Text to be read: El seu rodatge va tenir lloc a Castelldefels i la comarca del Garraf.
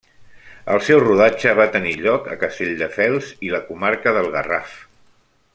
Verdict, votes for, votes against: accepted, 3, 0